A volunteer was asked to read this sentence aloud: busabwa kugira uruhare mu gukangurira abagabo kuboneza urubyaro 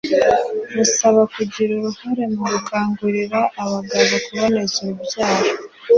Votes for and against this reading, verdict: 2, 1, accepted